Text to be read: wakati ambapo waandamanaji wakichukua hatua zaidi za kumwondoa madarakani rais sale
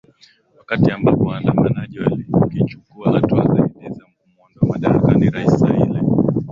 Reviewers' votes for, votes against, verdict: 0, 2, rejected